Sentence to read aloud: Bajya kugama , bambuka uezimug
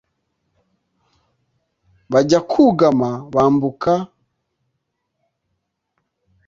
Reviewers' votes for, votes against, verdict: 0, 2, rejected